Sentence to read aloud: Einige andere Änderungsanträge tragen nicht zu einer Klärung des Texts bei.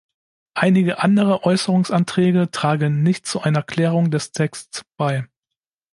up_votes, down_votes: 0, 2